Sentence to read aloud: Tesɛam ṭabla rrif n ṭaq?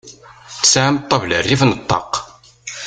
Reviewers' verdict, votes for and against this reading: rejected, 0, 2